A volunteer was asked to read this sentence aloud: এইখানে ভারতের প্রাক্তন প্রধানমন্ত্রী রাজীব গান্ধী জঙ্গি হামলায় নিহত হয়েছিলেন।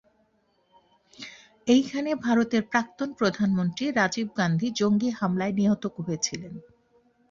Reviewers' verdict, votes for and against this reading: accepted, 2, 0